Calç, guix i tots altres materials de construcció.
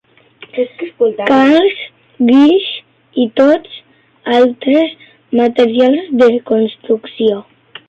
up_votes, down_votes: 0, 2